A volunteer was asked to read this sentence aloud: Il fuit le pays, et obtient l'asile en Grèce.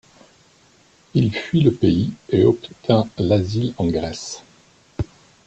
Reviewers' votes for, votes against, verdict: 1, 2, rejected